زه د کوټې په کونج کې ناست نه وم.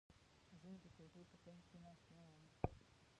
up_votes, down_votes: 0, 2